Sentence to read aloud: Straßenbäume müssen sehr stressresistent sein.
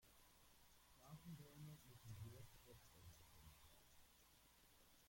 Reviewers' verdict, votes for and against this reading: rejected, 0, 2